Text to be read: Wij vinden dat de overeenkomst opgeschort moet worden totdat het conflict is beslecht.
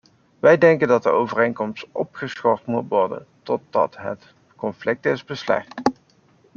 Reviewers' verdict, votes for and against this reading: accepted, 2, 0